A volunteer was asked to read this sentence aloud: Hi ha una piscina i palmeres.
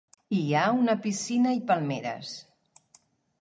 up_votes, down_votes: 3, 0